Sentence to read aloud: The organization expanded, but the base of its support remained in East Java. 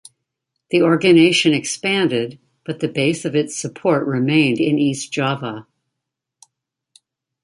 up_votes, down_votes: 0, 2